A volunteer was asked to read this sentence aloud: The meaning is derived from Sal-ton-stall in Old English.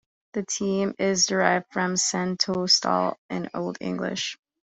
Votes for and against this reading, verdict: 1, 2, rejected